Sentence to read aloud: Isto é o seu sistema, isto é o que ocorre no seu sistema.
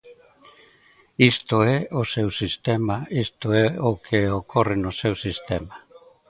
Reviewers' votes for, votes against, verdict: 2, 0, accepted